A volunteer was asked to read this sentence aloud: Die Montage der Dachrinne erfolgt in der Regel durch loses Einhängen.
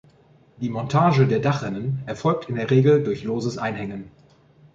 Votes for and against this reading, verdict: 1, 2, rejected